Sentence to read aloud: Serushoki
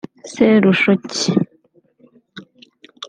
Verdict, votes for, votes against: accepted, 2, 0